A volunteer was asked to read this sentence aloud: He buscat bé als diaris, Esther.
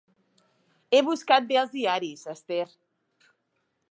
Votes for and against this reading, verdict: 2, 0, accepted